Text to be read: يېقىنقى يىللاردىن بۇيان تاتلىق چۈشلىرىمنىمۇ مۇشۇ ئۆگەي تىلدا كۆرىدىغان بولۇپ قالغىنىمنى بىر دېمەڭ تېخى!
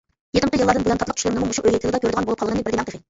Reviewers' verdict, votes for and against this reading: rejected, 0, 2